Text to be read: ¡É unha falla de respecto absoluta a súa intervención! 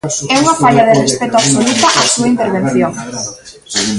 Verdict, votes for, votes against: rejected, 1, 2